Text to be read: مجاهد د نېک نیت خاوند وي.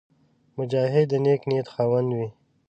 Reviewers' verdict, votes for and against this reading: accepted, 2, 1